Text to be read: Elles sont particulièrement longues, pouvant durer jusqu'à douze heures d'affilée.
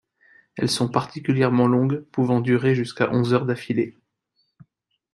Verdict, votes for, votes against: rejected, 1, 2